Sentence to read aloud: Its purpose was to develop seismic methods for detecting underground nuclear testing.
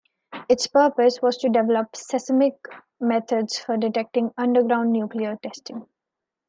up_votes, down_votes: 0, 2